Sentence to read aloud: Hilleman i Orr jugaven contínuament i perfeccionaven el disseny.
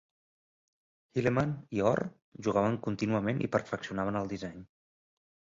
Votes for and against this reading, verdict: 2, 0, accepted